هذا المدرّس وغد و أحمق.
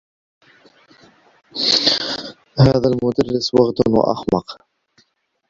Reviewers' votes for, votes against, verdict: 1, 2, rejected